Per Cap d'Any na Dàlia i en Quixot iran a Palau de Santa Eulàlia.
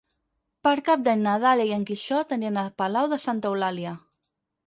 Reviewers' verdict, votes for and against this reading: rejected, 0, 4